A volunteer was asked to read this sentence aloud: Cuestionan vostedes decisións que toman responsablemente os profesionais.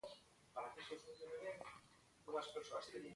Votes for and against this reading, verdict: 0, 3, rejected